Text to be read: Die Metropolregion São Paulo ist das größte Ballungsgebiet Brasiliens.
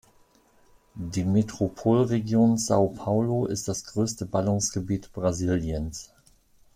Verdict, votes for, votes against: accepted, 2, 0